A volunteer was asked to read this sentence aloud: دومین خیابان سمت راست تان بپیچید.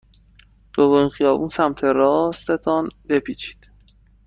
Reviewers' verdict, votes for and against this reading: rejected, 1, 2